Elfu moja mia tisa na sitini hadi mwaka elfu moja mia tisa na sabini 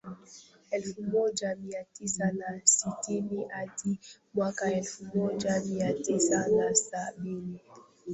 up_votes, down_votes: 0, 2